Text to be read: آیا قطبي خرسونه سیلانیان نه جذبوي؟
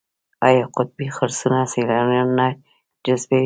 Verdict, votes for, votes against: accepted, 2, 1